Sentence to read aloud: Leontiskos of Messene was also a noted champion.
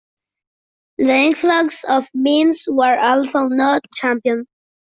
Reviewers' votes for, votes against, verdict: 0, 2, rejected